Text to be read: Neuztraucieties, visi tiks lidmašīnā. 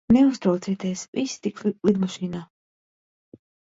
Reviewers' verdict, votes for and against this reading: rejected, 0, 2